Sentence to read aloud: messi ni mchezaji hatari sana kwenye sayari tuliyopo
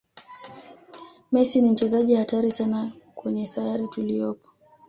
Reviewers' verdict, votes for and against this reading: accepted, 2, 0